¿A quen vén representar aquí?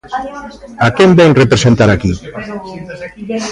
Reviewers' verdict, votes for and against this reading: rejected, 0, 2